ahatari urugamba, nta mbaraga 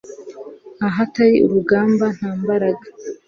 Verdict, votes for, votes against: accepted, 2, 0